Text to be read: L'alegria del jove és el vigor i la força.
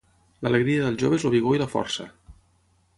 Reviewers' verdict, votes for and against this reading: rejected, 3, 6